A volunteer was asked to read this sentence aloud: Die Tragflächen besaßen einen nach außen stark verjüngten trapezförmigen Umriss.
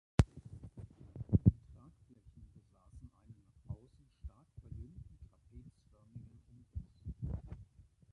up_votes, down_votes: 0, 3